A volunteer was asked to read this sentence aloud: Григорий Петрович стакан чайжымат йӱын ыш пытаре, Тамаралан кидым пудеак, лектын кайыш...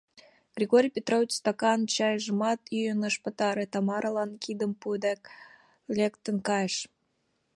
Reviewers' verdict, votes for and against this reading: rejected, 1, 2